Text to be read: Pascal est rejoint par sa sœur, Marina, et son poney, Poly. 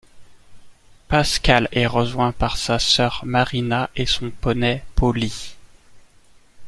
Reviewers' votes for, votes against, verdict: 2, 1, accepted